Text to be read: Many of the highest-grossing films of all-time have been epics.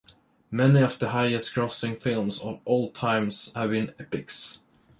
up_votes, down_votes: 0, 2